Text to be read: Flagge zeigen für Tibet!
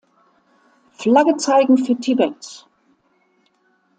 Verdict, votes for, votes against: accepted, 2, 0